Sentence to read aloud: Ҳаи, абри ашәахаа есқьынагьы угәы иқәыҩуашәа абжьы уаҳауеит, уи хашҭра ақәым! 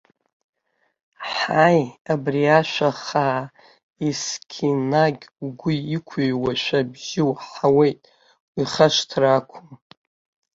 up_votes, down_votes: 0, 2